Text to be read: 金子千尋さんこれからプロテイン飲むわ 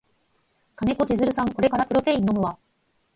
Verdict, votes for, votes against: accepted, 4, 0